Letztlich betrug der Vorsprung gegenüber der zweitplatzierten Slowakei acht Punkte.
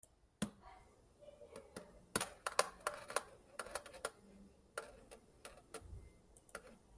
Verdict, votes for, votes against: rejected, 0, 2